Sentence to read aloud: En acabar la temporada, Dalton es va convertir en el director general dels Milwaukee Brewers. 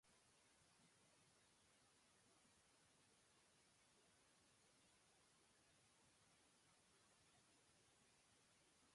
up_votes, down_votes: 0, 2